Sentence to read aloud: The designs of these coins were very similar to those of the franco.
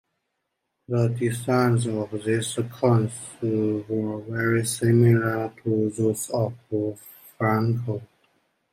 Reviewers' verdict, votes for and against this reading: rejected, 0, 2